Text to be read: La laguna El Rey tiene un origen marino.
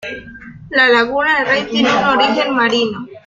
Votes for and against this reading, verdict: 0, 2, rejected